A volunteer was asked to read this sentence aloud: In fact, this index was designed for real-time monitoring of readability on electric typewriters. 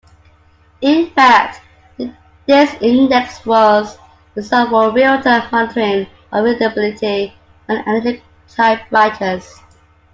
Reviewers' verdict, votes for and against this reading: rejected, 1, 2